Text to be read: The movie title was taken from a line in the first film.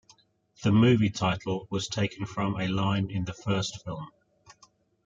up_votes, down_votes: 0, 2